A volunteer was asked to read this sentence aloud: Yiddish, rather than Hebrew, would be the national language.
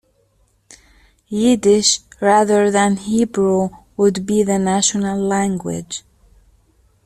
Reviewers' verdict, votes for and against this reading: accepted, 2, 0